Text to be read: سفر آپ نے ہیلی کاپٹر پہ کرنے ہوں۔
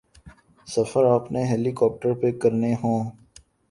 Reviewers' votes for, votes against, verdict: 3, 0, accepted